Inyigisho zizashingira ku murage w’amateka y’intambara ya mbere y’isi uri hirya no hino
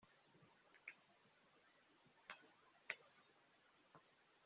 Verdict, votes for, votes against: rejected, 1, 2